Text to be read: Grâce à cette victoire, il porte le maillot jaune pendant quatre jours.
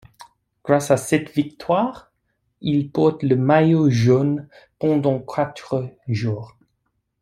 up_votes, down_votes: 2, 1